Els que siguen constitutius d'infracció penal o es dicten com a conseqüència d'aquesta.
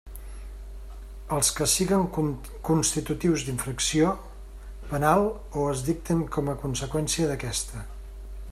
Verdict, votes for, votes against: rejected, 1, 2